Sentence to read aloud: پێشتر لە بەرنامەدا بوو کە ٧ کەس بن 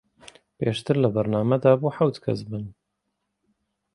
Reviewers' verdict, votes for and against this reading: rejected, 0, 2